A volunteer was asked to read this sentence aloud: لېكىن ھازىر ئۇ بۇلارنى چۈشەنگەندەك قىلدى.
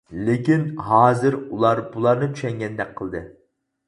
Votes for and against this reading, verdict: 2, 4, rejected